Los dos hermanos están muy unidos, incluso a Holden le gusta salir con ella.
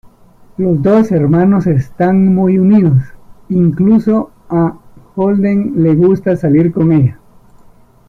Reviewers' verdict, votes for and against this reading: accepted, 2, 1